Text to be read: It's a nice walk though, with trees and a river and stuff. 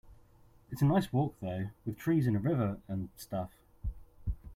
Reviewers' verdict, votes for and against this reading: accepted, 2, 1